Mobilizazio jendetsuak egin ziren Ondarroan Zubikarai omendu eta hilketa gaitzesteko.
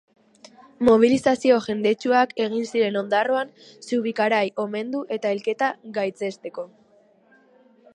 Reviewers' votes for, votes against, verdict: 2, 0, accepted